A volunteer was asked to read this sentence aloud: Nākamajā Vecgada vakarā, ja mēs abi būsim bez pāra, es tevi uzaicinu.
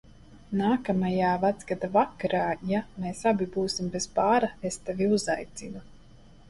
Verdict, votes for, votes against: accepted, 2, 0